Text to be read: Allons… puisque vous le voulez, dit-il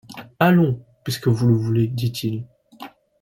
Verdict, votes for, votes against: accepted, 2, 0